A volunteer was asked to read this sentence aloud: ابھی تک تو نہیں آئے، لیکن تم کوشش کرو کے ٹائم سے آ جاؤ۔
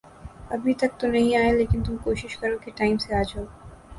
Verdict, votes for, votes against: accepted, 3, 0